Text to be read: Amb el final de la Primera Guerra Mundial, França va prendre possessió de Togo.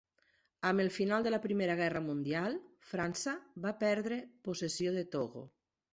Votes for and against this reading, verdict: 1, 2, rejected